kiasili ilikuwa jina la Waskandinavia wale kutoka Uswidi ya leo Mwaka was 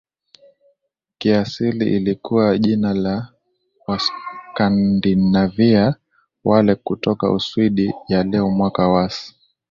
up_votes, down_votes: 2, 0